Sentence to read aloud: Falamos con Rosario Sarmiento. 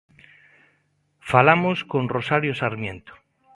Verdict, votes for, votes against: accepted, 2, 0